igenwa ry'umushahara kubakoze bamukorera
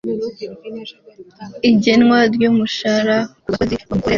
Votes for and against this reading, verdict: 1, 2, rejected